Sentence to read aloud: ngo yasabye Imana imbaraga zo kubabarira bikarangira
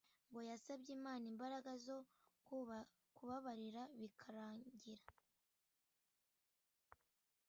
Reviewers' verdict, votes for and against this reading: rejected, 0, 2